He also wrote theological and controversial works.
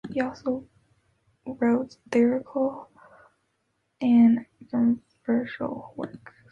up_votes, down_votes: 1, 2